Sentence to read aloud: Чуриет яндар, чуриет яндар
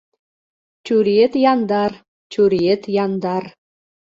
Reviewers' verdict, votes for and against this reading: accepted, 2, 0